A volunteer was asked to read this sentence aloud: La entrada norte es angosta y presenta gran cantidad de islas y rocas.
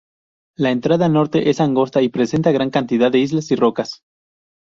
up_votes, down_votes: 4, 0